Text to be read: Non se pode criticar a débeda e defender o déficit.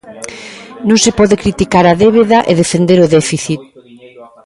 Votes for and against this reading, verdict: 2, 1, accepted